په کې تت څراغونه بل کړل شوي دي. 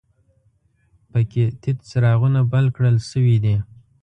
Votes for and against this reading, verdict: 1, 2, rejected